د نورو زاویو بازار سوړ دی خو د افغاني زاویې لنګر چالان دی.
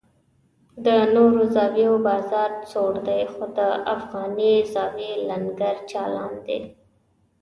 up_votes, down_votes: 2, 0